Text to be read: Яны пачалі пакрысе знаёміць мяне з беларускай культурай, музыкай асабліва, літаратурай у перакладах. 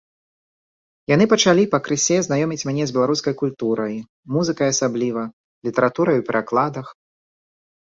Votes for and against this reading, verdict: 3, 0, accepted